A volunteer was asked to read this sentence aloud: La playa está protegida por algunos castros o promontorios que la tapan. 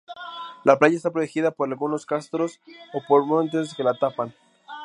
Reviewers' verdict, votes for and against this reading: rejected, 0, 2